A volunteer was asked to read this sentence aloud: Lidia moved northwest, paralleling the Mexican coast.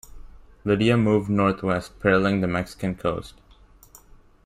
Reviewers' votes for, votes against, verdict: 2, 1, accepted